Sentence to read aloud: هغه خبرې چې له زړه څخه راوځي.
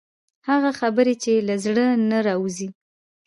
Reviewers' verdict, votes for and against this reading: accepted, 2, 0